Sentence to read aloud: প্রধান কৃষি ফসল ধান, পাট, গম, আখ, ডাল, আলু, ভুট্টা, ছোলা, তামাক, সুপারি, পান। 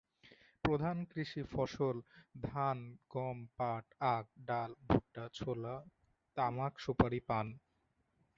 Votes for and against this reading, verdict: 0, 2, rejected